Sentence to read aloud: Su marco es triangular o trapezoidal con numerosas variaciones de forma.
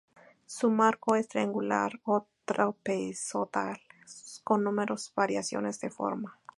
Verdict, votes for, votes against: rejected, 0, 4